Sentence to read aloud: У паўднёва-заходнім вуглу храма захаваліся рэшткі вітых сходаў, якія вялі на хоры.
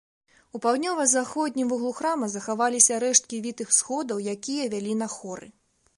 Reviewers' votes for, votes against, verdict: 2, 0, accepted